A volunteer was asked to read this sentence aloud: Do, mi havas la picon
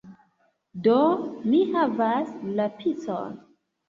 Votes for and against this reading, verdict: 2, 0, accepted